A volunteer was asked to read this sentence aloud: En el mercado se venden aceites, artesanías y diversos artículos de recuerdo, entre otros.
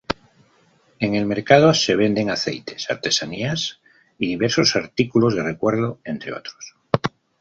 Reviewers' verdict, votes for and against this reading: accepted, 2, 0